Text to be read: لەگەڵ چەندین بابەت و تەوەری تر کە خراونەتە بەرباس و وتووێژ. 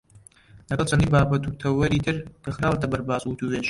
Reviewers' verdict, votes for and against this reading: rejected, 0, 2